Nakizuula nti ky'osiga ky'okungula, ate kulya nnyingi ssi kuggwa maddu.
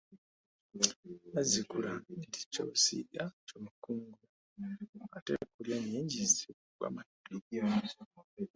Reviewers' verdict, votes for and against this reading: rejected, 1, 2